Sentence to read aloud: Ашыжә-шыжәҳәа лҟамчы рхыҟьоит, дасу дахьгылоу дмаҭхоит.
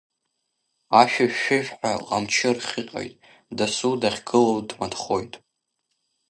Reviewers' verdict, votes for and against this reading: rejected, 1, 2